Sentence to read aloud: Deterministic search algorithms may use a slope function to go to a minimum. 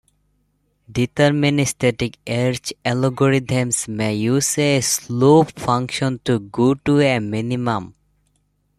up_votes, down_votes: 0, 2